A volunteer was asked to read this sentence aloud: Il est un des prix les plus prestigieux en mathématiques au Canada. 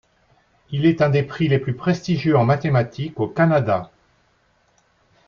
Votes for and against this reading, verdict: 4, 0, accepted